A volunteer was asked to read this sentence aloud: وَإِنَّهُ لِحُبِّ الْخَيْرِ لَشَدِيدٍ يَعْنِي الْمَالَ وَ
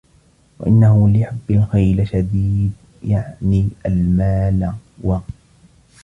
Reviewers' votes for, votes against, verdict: 2, 0, accepted